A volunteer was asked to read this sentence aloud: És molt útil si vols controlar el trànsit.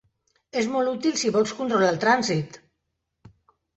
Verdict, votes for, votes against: accepted, 3, 0